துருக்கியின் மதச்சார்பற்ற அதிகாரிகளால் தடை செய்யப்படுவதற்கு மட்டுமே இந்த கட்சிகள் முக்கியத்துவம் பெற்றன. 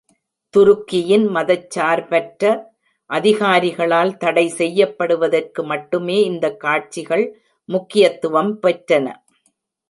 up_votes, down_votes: 0, 2